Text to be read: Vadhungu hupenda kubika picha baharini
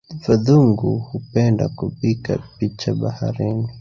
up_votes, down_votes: 1, 2